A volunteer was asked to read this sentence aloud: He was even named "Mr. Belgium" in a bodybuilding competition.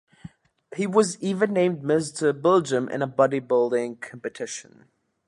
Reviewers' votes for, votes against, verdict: 2, 0, accepted